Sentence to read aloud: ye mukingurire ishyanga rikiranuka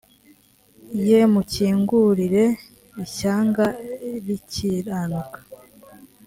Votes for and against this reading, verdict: 3, 0, accepted